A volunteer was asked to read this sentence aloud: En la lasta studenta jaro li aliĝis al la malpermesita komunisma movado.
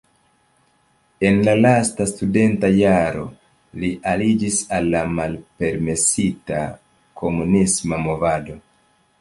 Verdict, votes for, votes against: accepted, 2, 0